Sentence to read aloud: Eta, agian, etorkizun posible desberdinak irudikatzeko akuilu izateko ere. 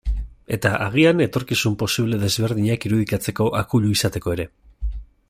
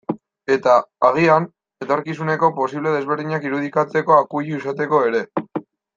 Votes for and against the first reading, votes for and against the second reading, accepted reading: 2, 0, 0, 2, first